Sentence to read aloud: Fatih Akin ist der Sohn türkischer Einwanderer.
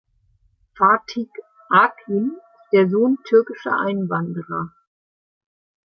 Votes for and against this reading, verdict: 0, 2, rejected